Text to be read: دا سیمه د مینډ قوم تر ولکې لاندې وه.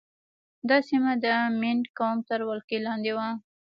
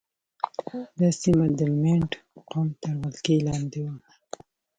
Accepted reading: second